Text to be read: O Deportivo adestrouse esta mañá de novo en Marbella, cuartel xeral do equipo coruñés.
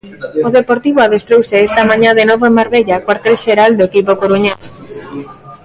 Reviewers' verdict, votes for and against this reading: rejected, 0, 2